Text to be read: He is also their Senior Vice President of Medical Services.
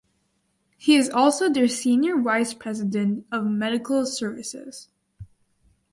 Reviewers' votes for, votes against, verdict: 2, 2, rejected